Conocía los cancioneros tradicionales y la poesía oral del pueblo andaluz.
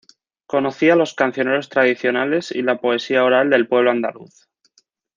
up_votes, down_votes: 2, 0